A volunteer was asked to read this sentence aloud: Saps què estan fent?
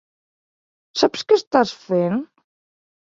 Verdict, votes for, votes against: rejected, 1, 2